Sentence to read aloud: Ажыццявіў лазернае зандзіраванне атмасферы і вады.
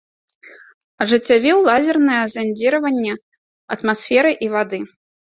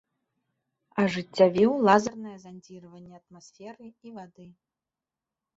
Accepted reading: first